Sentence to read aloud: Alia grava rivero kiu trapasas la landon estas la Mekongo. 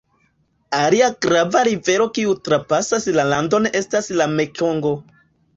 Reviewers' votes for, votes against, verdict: 2, 1, accepted